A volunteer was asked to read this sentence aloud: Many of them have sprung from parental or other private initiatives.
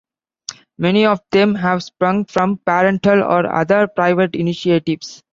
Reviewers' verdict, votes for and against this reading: accepted, 2, 1